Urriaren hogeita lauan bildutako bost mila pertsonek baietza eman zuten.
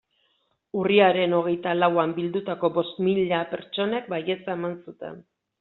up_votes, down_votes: 2, 0